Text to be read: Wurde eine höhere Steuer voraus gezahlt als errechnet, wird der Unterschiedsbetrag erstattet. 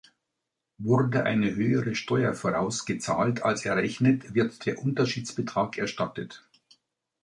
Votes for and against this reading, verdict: 2, 0, accepted